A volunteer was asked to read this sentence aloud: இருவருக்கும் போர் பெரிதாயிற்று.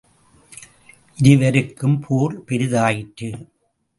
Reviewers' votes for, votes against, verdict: 2, 0, accepted